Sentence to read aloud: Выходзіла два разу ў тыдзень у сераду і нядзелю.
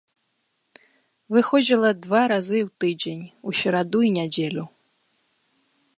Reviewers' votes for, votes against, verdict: 0, 3, rejected